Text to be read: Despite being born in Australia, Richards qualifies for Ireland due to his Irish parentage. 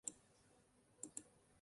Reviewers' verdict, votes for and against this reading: rejected, 0, 2